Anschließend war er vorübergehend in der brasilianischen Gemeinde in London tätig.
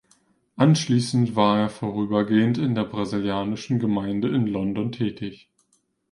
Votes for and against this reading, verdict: 2, 0, accepted